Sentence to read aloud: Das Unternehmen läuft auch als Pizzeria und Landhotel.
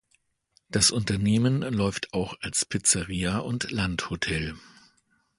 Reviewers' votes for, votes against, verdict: 2, 0, accepted